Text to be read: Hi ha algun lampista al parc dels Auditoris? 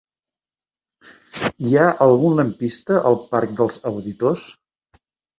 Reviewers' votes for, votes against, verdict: 0, 3, rejected